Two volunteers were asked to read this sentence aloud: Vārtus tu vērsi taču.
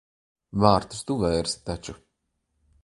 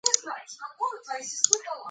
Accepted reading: first